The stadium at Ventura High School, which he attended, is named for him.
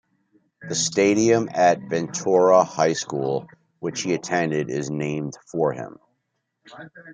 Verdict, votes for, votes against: accepted, 2, 1